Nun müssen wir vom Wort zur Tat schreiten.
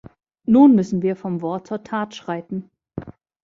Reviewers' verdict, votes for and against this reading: accepted, 2, 0